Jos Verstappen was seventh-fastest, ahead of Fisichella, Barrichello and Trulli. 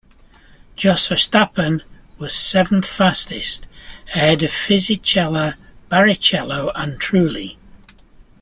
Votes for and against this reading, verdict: 0, 2, rejected